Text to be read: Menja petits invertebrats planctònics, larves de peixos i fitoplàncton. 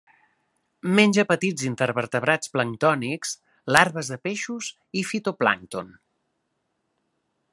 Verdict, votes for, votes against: rejected, 0, 2